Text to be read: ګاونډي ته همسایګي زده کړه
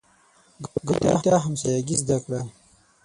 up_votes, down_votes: 3, 6